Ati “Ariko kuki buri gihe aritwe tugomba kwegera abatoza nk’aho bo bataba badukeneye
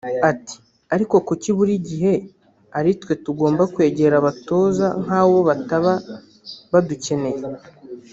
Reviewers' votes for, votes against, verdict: 1, 2, rejected